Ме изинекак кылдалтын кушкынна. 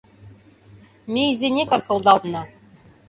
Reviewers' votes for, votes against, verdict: 0, 2, rejected